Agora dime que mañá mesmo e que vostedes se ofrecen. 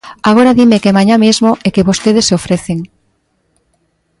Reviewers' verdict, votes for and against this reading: accepted, 2, 0